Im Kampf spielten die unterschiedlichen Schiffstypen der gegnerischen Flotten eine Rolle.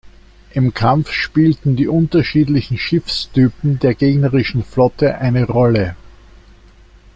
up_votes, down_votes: 1, 2